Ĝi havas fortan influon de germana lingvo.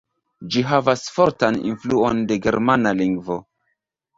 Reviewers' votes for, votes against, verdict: 0, 2, rejected